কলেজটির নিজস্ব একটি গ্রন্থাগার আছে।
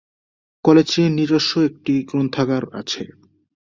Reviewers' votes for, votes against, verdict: 12, 7, accepted